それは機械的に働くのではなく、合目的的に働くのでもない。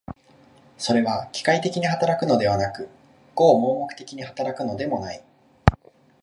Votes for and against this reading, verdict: 1, 2, rejected